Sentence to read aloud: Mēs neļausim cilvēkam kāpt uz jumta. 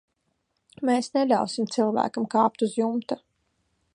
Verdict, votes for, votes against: accepted, 2, 0